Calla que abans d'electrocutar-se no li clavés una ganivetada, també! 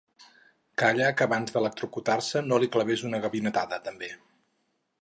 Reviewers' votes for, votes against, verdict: 2, 2, rejected